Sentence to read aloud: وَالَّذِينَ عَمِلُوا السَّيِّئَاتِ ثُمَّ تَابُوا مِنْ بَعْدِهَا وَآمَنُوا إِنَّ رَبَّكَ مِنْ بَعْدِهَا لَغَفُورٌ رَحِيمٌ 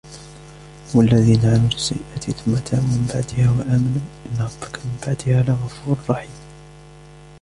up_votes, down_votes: 2, 0